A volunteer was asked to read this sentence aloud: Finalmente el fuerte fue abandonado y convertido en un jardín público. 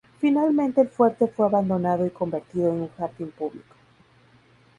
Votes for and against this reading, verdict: 2, 2, rejected